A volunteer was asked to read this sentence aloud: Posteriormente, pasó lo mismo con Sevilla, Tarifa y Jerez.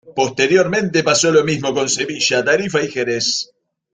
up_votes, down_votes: 2, 0